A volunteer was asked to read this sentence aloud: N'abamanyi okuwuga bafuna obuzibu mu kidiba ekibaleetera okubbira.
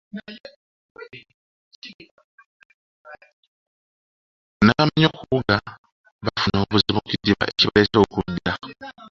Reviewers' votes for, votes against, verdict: 0, 2, rejected